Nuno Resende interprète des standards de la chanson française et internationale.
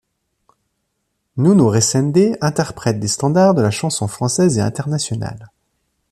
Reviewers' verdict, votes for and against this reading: accepted, 2, 0